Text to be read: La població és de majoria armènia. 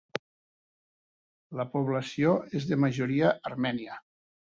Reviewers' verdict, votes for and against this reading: accepted, 3, 0